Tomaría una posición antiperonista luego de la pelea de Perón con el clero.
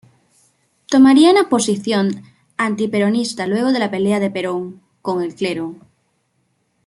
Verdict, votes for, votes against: accepted, 2, 0